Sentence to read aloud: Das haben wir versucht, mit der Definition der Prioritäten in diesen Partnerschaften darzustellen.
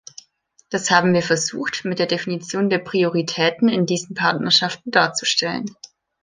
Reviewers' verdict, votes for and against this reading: accepted, 2, 0